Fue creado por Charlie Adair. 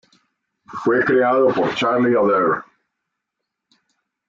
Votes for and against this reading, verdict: 0, 2, rejected